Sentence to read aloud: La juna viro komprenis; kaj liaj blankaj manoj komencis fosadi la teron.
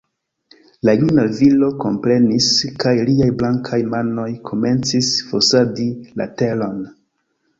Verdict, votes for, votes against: rejected, 1, 2